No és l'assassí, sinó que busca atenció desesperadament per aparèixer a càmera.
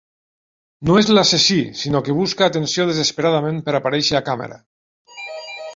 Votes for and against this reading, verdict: 2, 1, accepted